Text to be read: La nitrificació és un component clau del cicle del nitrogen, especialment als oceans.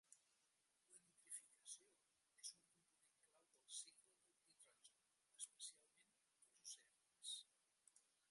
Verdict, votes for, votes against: rejected, 0, 2